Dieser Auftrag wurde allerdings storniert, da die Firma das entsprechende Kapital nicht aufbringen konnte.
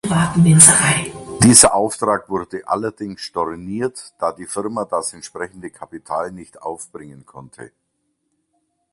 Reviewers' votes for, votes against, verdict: 0, 3, rejected